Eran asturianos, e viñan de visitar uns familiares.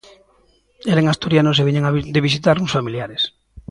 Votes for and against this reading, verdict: 0, 2, rejected